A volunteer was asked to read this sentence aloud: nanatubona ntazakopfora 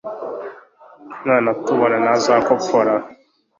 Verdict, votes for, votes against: accepted, 2, 0